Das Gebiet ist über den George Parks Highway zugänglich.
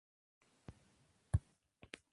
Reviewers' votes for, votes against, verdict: 0, 2, rejected